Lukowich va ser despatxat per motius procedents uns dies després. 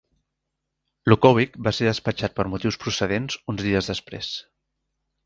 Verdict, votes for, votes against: accepted, 4, 1